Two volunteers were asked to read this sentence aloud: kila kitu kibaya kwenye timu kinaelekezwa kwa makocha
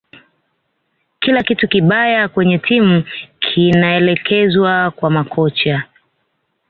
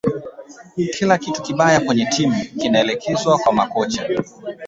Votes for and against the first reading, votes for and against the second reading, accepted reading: 2, 0, 1, 2, first